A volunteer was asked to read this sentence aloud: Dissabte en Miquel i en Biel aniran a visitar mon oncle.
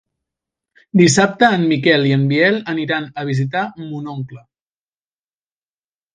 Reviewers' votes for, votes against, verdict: 3, 0, accepted